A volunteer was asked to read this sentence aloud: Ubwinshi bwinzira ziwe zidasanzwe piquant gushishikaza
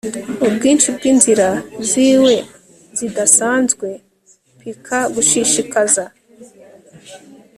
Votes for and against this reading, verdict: 2, 0, accepted